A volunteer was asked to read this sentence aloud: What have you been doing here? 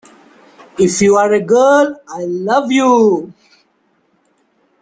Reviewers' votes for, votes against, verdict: 0, 2, rejected